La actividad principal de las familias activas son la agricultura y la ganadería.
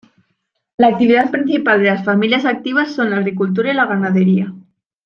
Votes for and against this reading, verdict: 2, 0, accepted